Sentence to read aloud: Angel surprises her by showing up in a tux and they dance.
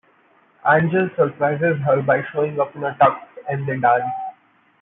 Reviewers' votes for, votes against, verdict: 1, 2, rejected